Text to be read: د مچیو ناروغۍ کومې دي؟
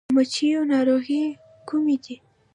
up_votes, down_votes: 2, 0